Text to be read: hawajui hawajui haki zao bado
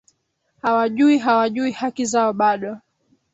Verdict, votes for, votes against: accepted, 3, 2